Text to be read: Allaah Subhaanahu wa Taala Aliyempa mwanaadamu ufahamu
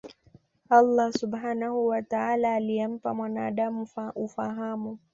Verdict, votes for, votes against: accepted, 2, 0